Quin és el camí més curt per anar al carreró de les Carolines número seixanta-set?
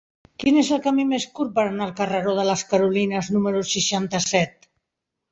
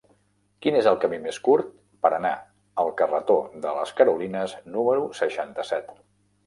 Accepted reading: first